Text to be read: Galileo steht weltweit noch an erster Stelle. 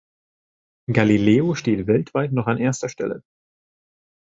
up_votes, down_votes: 2, 0